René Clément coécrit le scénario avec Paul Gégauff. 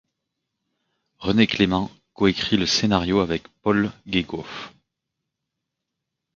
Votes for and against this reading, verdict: 0, 2, rejected